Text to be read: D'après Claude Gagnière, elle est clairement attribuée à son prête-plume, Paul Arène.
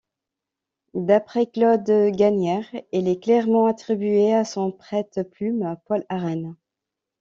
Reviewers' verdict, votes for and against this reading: accepted, 2, 0